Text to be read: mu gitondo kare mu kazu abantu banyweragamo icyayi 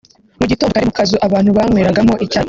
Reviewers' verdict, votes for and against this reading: rejected, 1, 2